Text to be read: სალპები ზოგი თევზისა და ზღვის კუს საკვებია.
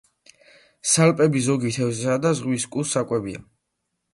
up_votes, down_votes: 2, 0